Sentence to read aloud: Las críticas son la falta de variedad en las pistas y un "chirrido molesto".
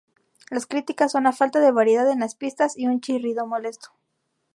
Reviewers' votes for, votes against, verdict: 0, 2, rejected